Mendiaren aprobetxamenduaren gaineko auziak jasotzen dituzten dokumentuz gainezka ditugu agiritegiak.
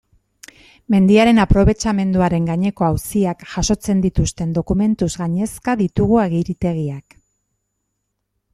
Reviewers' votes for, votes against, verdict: 2, 0, accepted